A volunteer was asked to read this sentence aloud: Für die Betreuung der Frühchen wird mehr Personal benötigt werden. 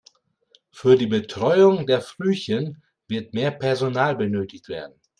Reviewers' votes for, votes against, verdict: 2, 0, accepted